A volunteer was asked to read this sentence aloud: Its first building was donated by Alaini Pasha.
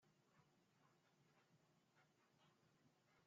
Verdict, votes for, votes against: rejected, 1, 2